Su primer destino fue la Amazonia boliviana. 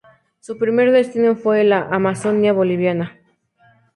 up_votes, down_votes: 2, 0